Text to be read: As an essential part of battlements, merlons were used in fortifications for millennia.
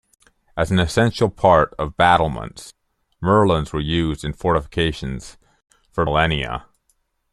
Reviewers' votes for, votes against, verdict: 2, 0, accepted